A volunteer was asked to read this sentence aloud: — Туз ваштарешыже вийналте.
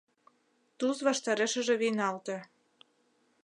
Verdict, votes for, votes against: accepted, 2, 0